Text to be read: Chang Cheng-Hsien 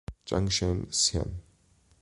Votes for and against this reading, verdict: 2, 0, accepted